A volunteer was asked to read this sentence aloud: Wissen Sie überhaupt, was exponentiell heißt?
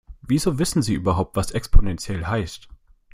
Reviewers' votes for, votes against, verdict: 0, 2, rejected